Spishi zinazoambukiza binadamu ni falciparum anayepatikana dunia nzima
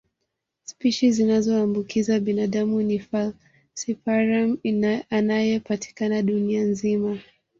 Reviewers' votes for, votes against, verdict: 0, 2, rejected